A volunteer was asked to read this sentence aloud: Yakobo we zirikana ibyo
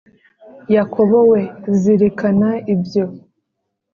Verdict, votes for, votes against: accepted, 3, 0